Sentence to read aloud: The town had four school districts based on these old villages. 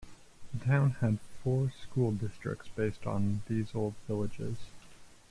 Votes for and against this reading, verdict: 0, 2, rejected